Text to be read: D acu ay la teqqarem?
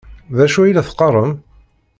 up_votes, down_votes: 2, 0